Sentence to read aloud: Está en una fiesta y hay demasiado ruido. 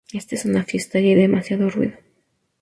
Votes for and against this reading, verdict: 0, 2, rejected